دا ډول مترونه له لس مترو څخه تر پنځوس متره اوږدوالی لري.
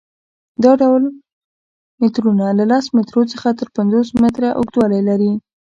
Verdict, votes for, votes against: rejected, 0, 2